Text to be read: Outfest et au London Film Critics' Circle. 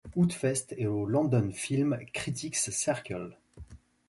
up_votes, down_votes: 2, 0